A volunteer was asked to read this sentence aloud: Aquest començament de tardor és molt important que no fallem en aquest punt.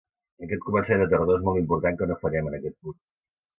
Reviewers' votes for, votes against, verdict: 0, 2, rejected